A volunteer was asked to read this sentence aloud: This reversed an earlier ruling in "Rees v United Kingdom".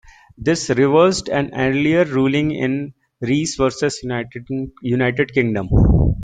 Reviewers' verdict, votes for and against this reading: rejected, 0, 2